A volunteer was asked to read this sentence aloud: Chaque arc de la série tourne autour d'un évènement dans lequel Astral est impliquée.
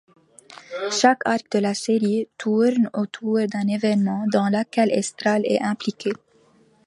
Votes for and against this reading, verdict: 0, 2, rejected